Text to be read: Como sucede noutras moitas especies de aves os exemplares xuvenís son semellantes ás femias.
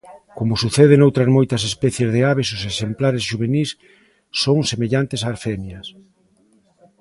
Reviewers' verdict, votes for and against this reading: accepted, 2, 0